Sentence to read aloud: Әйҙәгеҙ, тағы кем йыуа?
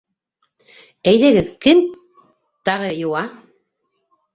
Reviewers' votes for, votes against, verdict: 1, 2, rejected